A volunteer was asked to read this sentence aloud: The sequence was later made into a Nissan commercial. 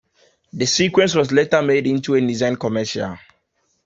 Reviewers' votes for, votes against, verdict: 2, 0, accepted